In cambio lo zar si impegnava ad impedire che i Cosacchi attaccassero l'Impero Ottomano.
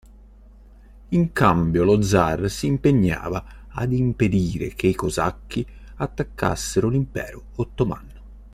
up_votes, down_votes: 2, 0